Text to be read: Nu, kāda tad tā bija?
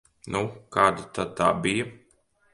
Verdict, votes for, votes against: accepted, 2, 0